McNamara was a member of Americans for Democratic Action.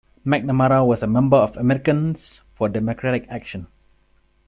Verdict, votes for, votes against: rejected, 2, 3